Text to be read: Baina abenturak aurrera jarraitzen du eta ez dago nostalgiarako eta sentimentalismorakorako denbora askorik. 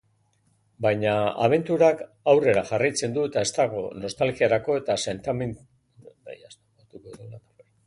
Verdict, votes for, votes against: rejected, 0, 2